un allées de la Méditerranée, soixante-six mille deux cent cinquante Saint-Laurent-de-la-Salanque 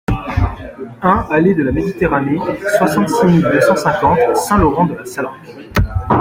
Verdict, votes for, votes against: rejected, 1, 2